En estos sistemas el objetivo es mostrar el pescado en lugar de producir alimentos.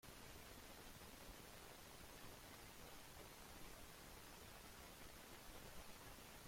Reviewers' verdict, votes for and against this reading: rejected, 1, 2